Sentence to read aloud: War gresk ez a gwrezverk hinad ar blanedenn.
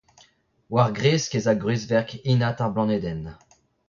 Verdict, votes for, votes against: rejected, 0, 2